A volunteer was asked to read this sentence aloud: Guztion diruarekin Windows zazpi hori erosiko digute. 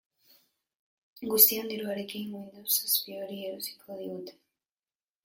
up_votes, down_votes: 2, 3